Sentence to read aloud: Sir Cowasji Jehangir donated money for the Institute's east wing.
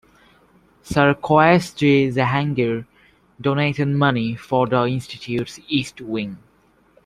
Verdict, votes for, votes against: rejected, 1, 2